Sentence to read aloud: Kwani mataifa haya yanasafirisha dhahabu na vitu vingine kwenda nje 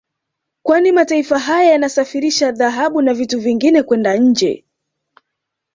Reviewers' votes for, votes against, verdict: 1, 2, rejected